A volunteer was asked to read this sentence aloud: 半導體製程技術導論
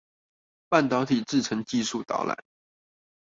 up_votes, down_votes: 0, 2